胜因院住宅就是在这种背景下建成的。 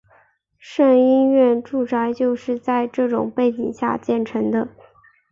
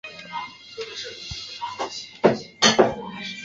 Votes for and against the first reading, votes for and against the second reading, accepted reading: 5, 0, 1, 3, first